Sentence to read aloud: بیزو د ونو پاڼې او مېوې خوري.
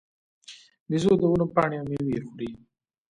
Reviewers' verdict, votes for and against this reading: accepted, 2, 0